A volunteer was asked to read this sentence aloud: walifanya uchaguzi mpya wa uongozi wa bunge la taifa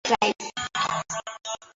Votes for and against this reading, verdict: 0, 2, rejected